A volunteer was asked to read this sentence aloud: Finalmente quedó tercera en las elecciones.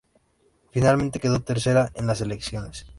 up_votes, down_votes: 2, 1